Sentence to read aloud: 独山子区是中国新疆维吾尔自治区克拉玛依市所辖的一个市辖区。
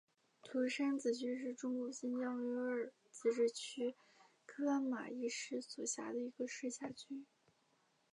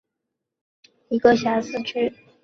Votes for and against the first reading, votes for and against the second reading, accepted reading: 2, 0, 0, 2, first